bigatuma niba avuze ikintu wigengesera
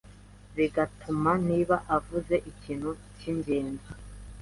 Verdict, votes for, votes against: rejected, 0, 2